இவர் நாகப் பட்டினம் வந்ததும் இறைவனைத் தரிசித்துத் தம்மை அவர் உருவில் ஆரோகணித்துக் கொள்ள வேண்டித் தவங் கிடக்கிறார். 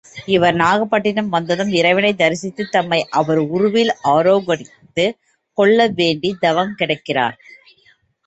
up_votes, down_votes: 2, 3